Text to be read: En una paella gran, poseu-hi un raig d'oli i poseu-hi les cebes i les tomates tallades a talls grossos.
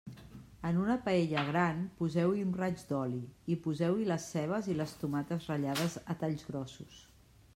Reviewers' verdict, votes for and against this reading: rejected, 0, 2